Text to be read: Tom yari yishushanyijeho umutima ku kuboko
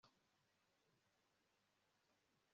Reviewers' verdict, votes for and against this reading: rejected, 0, 2